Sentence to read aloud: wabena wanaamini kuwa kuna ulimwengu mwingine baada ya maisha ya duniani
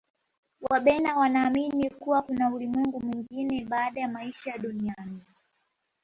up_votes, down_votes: 3, 0